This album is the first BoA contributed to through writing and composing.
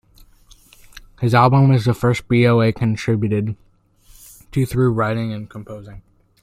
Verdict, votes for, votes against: rejected, 0, 2